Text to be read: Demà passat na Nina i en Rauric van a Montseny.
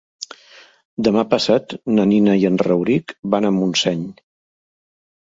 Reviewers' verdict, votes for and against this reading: accepted, 2, 0